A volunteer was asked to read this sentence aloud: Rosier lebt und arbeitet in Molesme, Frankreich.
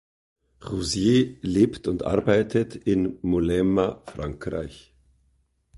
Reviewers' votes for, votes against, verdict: 1, 2, rejected